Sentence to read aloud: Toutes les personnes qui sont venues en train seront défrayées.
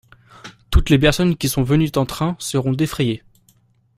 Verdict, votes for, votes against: accepted, 2, 0